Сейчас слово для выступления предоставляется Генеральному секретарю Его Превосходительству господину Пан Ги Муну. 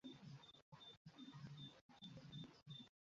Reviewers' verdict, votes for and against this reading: rejected, 0, 2